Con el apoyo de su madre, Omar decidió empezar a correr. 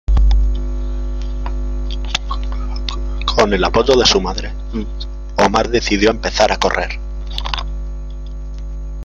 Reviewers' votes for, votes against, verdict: 2, 1, accepted